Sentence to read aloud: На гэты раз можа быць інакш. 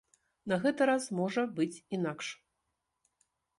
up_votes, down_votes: 2, 0